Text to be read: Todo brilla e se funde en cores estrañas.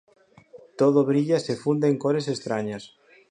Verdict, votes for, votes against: accepted, 4, 0